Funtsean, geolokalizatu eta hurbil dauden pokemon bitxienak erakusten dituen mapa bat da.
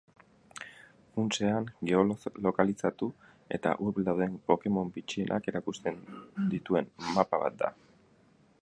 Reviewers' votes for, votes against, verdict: 4, 0, accepted